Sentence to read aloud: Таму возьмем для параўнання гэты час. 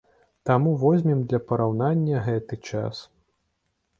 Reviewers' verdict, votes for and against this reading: accepted, 2, 1